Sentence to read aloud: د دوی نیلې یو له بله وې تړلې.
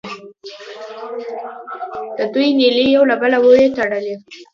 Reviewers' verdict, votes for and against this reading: rejected, 1, 2